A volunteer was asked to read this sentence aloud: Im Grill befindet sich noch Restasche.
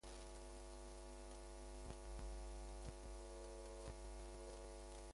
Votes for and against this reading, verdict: 0, 2, rejected